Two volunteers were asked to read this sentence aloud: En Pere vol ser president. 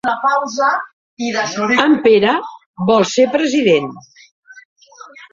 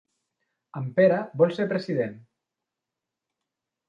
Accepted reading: second